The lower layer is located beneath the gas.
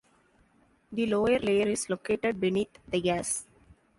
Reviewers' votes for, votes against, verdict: 1, 2, rejected